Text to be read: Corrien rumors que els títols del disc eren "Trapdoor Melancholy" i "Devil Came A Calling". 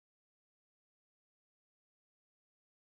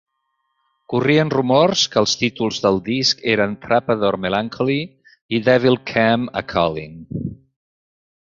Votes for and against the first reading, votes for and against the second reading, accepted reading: 0, 2, 2, 0, second